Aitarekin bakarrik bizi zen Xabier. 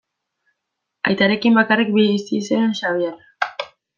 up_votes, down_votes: 0, 2